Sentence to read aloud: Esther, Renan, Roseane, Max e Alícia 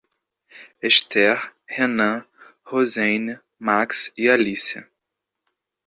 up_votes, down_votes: 1, 2